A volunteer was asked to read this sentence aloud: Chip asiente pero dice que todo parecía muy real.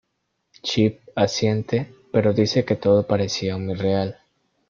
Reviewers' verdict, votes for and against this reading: accepted, 2, 0